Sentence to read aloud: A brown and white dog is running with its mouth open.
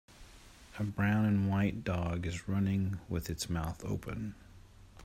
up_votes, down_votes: 2, 0